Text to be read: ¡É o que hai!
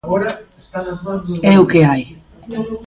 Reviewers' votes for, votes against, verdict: 1, 2, rejected